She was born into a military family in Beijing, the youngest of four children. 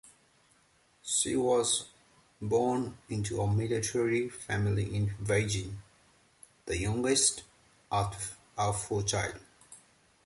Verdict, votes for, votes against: rejected, 1, 2